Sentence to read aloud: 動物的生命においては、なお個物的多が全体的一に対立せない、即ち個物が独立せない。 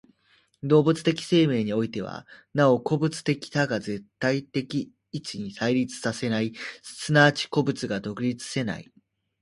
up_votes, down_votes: 2, 0